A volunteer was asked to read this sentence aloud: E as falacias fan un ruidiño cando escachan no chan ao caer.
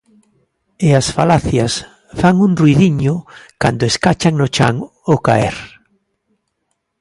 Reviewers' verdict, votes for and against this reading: accepted, 2, 0